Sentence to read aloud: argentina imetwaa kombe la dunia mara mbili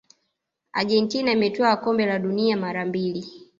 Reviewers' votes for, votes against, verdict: 1, 2, rejected